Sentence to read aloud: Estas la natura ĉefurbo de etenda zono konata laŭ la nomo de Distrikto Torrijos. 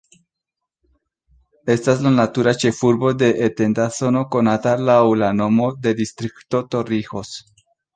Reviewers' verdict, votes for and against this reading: accepted, 2, 0